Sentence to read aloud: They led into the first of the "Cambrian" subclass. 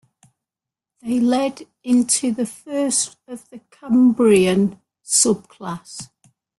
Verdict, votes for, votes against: rejected, 1, 2